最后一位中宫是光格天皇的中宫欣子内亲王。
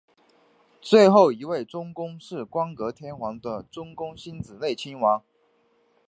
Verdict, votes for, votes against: accepted, 3, 0